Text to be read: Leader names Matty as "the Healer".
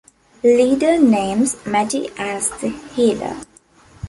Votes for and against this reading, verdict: 2, 0, accepted